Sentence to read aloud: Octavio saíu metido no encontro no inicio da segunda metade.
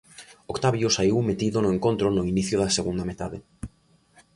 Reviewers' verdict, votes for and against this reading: accepted, 2, 0